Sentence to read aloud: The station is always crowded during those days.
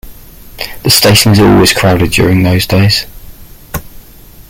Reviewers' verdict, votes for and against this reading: accepted, 2, 0